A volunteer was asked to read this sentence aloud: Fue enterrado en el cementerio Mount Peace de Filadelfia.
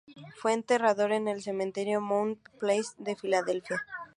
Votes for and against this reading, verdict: 0, 2, rejected